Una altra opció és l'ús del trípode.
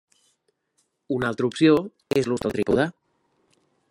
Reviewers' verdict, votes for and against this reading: rejected, 0, 2